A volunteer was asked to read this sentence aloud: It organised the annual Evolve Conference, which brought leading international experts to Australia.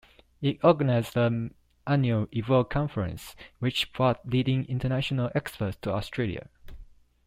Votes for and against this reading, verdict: 2, 0, accepted